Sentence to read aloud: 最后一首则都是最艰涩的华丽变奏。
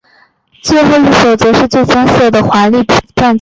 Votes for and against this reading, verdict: 2, 3, rejected